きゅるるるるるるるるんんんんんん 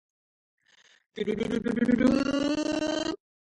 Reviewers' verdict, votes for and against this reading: rejected, 0, 2